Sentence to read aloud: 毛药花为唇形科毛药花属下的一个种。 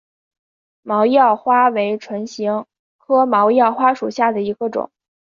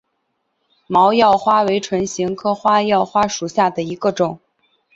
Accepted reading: first